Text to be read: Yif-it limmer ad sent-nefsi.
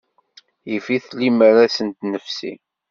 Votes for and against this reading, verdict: 2, 0, accepted